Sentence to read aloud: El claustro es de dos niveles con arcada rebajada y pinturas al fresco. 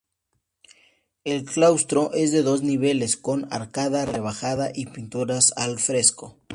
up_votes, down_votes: 2, 0